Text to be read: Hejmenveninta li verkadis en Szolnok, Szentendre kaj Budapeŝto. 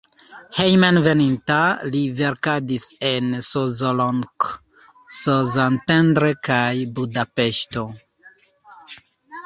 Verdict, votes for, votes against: rejected, 0, 2